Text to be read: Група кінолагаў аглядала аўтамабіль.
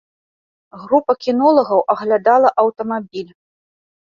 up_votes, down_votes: 2, 0